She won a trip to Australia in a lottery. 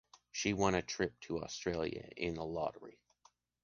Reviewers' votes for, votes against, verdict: 2, 0, accepted